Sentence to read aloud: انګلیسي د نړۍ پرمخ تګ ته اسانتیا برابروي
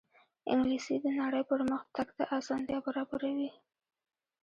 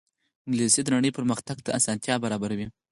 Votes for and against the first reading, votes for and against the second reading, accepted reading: 1, 2, 4, 2, second